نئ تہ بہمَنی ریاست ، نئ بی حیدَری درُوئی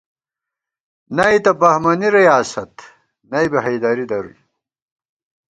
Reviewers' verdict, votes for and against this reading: accepted, 3, 0